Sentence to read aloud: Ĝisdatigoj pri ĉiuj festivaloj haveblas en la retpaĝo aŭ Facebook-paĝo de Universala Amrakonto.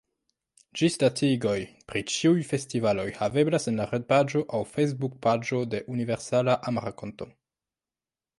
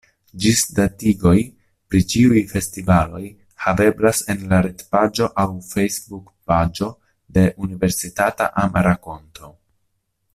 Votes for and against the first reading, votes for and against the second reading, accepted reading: 2, 1, 0, 2, first